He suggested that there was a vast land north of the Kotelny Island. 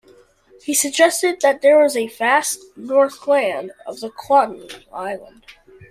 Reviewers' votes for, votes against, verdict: 0, 2, rejected